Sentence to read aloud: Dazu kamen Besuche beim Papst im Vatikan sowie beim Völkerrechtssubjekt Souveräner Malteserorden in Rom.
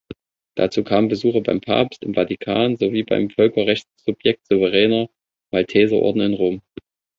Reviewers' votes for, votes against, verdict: 2, 0, accepted